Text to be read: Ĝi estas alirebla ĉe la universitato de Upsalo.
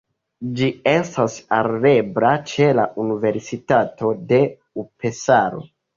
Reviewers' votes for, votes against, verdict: 1, 2, rejected